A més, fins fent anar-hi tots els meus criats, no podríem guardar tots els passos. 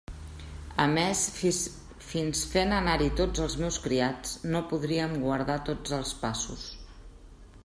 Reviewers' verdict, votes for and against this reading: rejected, 0, 2